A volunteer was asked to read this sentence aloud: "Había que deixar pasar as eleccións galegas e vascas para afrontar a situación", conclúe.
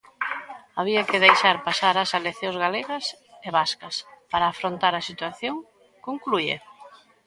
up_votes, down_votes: 0, 2